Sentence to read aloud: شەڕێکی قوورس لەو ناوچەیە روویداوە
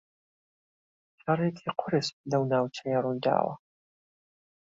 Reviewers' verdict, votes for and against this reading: accepted, 2, 0